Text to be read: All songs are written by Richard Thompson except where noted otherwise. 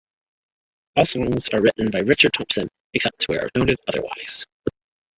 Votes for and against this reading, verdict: 0, 2, rejected